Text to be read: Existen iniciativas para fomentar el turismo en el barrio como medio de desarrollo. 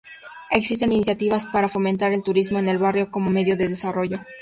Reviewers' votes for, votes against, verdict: 0, 2, rejected